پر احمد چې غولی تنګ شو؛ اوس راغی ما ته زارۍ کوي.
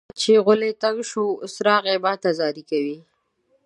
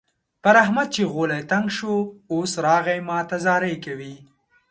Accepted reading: second